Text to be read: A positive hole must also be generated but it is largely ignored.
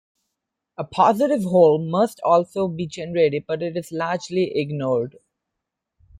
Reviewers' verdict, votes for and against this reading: accepted, 2, 0